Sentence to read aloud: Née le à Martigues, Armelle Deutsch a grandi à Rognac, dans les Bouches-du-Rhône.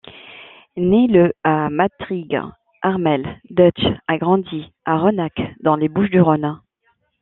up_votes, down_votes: 0, 2